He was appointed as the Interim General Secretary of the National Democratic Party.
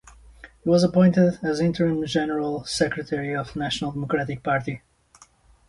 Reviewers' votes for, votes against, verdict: 0, 2, rejected